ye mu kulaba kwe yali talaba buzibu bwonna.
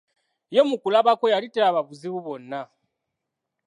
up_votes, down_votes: 2, 0